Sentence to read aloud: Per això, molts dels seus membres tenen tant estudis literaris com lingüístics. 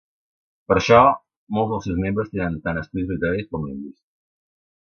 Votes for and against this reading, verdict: 1, 2, rejected